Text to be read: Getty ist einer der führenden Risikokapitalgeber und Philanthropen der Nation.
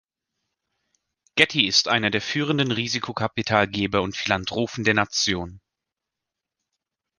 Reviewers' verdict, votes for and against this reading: rejected, 0, 2